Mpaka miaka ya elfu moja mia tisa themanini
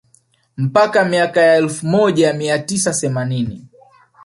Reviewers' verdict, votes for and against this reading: accepted, 2, 0